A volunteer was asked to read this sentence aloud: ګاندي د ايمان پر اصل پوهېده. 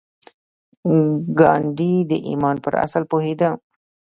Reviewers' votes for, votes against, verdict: 0, 2, rejected